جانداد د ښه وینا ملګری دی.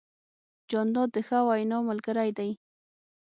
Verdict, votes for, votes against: accepted, 6, 0